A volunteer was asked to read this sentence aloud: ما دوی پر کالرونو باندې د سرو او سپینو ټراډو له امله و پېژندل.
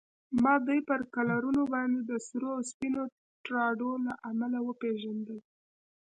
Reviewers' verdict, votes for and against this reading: accepted, 2, 0